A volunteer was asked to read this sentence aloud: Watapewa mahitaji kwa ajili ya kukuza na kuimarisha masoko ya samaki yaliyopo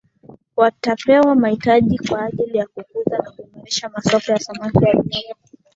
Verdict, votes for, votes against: rejected, 0, 2